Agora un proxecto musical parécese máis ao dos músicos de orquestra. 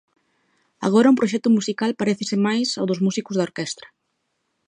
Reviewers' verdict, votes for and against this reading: accepted, 2, 0